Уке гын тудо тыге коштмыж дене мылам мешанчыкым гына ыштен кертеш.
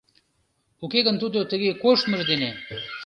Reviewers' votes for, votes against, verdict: 1, 2, rejected